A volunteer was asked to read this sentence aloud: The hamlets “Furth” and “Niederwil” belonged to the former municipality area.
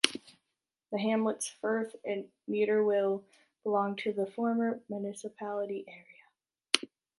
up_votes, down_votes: 1, 2